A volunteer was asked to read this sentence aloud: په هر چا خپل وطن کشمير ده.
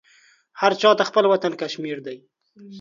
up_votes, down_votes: 1, 2